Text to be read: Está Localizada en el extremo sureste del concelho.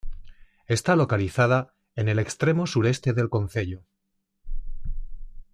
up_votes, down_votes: 3, 0